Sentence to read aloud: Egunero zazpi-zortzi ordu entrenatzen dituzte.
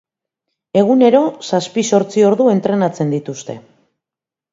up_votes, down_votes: 2, 0